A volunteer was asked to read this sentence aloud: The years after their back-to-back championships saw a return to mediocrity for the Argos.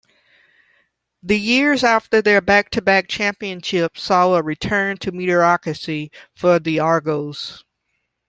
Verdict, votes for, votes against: rejected, 1, 2